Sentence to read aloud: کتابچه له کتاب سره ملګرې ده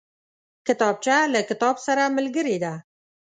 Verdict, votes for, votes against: accepted, 2, 0